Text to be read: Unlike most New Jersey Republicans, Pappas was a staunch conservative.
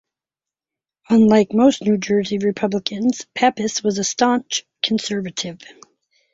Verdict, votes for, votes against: accepted, 4, 2